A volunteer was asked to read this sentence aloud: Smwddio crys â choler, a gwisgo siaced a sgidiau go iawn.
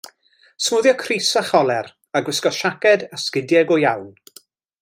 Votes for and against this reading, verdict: 2, 0, accepted